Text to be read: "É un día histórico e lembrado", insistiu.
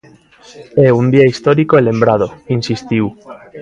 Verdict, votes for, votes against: rejected, 0, 2